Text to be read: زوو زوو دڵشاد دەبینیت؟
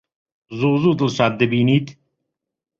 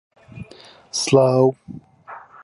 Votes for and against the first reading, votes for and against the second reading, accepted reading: 2, 0, 0, 2, first